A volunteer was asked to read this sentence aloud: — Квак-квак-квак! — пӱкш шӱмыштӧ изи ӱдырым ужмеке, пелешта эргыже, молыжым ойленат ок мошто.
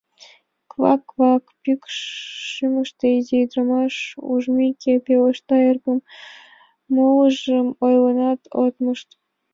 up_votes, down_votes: 0, 2